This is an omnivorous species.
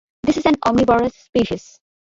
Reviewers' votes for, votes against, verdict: 0, 2, rejected